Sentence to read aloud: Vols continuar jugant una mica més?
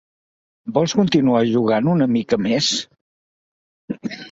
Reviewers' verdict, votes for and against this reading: accepted, 2, 0